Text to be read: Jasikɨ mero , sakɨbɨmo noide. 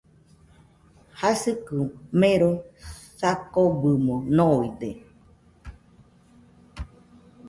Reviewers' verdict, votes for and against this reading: accepted, 2, 0